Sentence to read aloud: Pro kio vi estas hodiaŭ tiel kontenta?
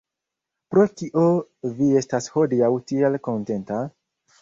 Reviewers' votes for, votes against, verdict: 2, 1, accepted